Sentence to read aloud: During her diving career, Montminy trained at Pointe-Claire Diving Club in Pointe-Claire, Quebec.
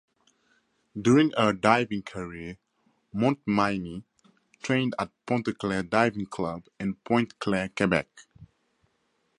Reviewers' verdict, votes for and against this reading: accepted, 4, 0